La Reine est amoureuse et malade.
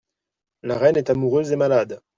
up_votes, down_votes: 2, 0